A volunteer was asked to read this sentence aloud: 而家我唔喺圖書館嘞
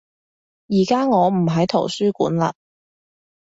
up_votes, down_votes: 2, 0